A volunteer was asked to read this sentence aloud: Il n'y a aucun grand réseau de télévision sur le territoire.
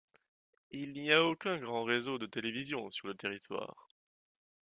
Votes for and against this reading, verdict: 2, 0, accepted